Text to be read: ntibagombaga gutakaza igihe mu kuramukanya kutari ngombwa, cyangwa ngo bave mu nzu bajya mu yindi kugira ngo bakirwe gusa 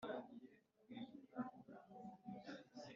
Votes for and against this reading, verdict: 0, 2, rejected